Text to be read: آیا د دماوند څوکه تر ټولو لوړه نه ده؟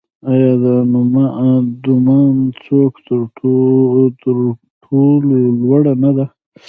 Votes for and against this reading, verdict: 0, 2, rejected